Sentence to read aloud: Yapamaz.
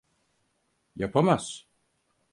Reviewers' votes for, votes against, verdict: 4, 0, accepted